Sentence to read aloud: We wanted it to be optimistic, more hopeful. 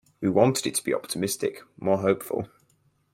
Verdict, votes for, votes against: accepted, 4, 0